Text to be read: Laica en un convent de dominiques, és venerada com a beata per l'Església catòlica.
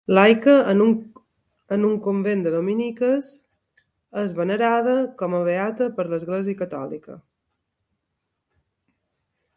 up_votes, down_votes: 0, 2